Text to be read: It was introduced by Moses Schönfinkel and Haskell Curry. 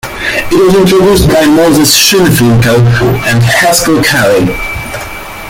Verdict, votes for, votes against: rejected, 1, 2